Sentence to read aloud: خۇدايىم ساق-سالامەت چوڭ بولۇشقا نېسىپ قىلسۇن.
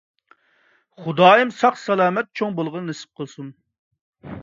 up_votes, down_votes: 0, 2